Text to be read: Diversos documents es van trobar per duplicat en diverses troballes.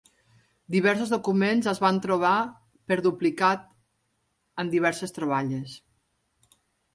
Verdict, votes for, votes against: accepted, 3, 0